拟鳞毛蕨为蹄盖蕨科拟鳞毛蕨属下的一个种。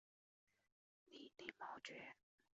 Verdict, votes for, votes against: rejected, 0, 2